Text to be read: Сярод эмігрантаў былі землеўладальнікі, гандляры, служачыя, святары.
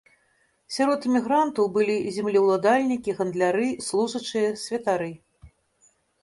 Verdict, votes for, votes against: accepted, 2, 0